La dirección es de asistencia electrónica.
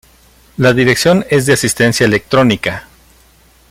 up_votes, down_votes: 0, 2